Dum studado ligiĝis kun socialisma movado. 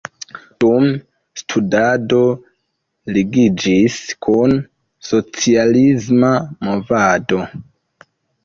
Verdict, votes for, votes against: accepted, 2, 0